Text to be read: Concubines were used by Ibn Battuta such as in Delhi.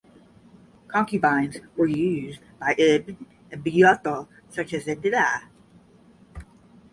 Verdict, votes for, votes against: rejected, 0, 10